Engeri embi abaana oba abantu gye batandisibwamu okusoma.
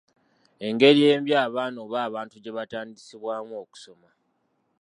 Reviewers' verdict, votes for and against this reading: accepted, 2, 0